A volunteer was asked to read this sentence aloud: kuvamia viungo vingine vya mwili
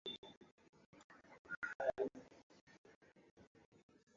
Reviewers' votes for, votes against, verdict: 0, 2, rejected